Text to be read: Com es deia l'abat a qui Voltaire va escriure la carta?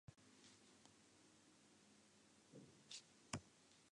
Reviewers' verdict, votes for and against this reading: rejected, 0, 2